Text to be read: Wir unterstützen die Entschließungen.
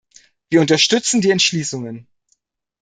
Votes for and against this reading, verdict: 2, 0, accepted